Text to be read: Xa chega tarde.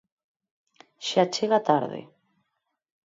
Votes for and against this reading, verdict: 6, 0, accepted